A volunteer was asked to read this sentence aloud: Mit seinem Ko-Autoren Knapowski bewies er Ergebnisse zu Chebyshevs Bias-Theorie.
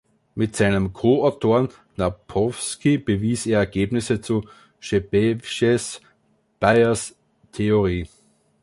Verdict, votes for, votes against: rejected, 1, 2